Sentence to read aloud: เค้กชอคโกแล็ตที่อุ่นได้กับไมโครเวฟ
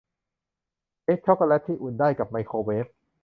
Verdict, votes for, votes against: accepted, 2, 0